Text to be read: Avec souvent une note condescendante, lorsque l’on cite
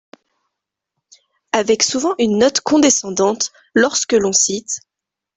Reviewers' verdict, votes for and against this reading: accepted, 2, 0